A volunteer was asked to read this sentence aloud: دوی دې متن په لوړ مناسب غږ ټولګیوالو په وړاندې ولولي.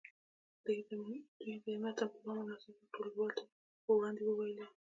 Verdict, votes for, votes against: rejected, 0, 2